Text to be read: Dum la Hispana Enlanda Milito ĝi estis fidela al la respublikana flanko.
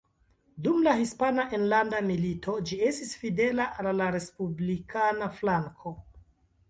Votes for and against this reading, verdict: 2, 1, accepted